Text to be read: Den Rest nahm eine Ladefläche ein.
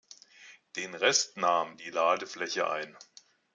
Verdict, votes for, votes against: rejected, 0, 2